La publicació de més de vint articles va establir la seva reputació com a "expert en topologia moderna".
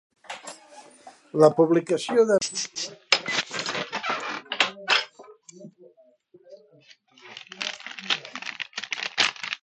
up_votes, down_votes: 0, 2